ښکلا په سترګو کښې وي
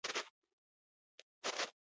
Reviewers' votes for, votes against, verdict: 0, 2, rejected